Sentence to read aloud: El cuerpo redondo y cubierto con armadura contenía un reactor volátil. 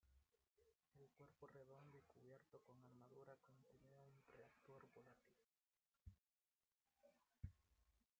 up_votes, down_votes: 0, 2